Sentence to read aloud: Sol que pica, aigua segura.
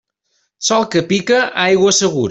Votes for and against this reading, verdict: 0, 2, rejected